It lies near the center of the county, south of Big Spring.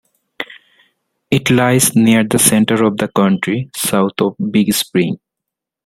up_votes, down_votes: 1, 2